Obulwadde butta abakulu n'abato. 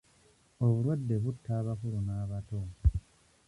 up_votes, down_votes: 1, 2